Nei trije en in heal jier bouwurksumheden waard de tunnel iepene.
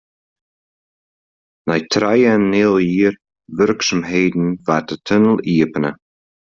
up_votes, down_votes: 2, 0